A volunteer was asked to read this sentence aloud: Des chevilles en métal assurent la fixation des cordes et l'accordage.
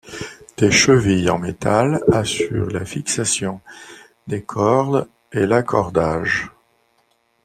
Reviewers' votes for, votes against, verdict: 2, 0, accepted